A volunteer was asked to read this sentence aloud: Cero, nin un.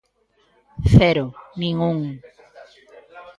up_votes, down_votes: 1, 2